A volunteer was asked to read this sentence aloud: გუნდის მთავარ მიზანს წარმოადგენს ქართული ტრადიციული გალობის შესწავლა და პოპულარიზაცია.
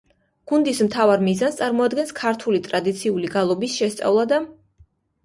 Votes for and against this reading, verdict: 0, 2, rejected